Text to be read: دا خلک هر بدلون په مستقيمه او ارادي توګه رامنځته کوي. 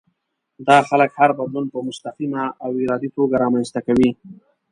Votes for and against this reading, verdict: 2, 0, accepted